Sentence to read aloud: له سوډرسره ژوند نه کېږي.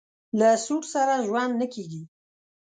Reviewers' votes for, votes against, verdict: 0, 2, rejected